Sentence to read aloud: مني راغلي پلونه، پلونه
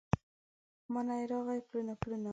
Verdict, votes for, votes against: rejected, 1, 2